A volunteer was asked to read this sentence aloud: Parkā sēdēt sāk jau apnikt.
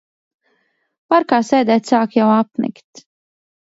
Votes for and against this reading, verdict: 2, 0, accepted